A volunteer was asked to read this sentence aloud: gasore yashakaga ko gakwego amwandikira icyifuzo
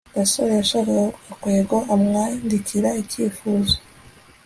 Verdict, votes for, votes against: accepted, 2, 0